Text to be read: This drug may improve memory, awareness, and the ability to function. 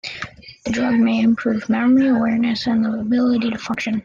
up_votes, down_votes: 0, 2